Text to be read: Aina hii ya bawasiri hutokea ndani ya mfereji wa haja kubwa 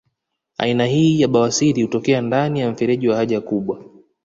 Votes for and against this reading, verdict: 2, 0, accepted